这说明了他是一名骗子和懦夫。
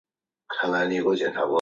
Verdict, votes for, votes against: rejected, 1, 2